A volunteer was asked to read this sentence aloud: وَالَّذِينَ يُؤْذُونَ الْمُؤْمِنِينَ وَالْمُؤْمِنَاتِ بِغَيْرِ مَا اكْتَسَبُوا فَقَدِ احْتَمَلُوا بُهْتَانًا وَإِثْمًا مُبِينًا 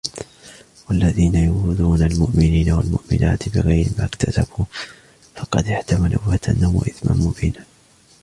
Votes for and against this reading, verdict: 2, 0, accepted